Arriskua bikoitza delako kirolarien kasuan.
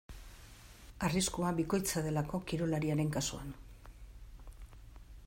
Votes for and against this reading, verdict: 0, 2, rejected